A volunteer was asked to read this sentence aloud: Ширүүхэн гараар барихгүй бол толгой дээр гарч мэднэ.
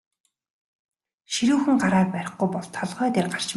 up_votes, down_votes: 0, 2